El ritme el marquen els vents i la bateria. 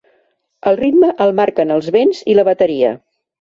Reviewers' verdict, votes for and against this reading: accepted, 2, 0